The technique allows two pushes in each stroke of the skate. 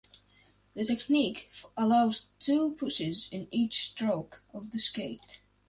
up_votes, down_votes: 4, 0